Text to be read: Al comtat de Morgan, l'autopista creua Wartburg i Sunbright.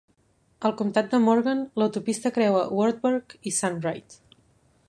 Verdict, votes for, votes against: accepted, 2, 0